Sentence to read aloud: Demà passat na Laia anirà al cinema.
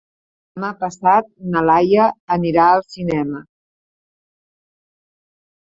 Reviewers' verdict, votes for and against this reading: rejected, 0, 2